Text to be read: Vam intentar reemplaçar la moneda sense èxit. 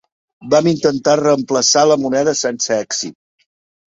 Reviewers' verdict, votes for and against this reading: accepted, 4, 0